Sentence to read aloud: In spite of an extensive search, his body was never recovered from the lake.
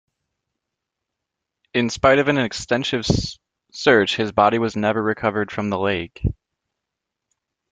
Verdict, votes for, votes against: rejected, 0, 2